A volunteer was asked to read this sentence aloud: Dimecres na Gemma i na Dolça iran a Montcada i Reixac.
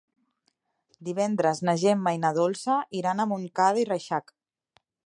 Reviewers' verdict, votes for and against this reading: accepted, 2, 1